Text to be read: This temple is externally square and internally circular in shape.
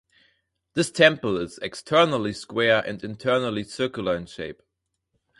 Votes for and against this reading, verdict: 4, 0, accepted